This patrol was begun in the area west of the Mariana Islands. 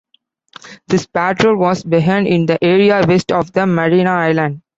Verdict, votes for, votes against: rejected, 0, 2